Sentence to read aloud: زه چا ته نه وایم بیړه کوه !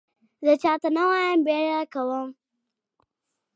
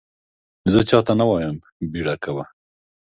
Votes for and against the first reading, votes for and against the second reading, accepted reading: 1, 2, 3, 0, second